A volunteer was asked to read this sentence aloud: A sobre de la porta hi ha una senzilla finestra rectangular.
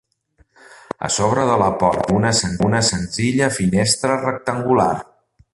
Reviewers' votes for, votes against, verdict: 0, 2, rejected